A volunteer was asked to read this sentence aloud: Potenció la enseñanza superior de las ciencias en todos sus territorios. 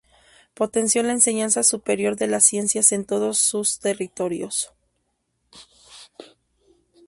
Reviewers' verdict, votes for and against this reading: accepted, 2, 0